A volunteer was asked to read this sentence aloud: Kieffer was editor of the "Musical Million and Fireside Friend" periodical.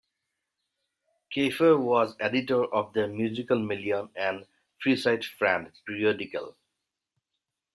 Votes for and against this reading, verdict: 0, 2, rejected